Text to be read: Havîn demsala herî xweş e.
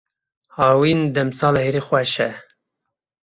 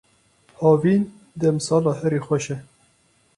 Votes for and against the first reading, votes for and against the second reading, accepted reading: 0, 2, 4, 0, second